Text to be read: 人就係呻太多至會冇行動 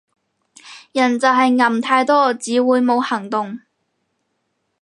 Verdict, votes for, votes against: rejected, 0, 4